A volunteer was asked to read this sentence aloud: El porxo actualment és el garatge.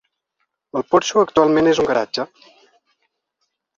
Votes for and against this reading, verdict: 1, 2, rejected